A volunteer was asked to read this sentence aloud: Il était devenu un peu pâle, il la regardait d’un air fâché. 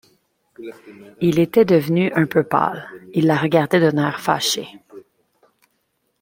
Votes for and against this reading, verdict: 2, 0, accepted